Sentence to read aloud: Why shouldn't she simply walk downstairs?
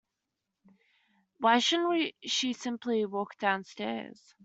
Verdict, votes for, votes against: accepted, 2, 1